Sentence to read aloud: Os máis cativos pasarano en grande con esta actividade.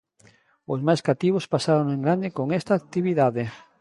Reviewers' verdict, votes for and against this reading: rejected, 1, 2